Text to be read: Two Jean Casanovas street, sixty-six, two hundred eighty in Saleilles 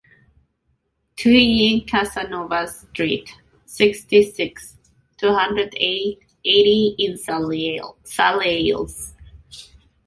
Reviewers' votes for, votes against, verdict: 0, 2, rejected